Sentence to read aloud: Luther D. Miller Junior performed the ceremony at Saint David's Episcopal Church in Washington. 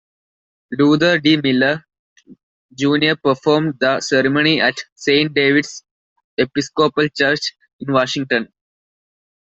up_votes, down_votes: 2, 0